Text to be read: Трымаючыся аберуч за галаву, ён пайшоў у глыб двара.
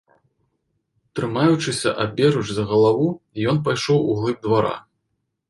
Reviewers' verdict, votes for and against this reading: accepted, 2, 0